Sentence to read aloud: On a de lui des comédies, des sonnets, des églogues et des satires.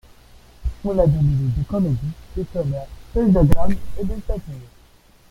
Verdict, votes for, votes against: rejected, 1, 3